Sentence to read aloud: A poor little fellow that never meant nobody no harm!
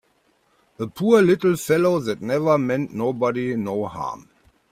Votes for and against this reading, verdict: 2, 0, accepted